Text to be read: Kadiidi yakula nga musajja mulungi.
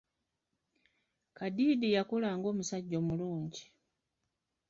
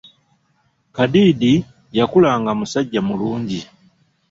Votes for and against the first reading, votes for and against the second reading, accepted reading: 1, 2, 2, 0, second